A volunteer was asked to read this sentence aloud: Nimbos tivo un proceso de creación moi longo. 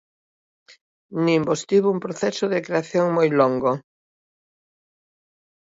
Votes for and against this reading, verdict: 2, 0, accepted